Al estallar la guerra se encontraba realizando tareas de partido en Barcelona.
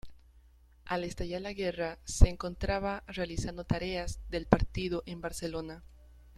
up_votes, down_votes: 0, 2